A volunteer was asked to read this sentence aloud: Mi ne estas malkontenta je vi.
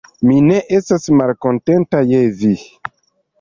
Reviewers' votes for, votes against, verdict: 0, 2, rejected